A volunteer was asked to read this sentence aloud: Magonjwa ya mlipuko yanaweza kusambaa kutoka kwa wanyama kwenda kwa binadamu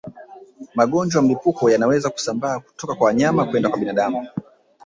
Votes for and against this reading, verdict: 2, 1, accepted